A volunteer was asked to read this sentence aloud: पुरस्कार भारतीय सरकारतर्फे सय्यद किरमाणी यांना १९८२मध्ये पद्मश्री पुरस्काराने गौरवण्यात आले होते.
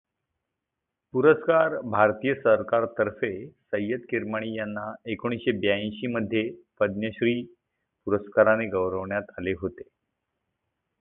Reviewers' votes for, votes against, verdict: 0, 2, rejected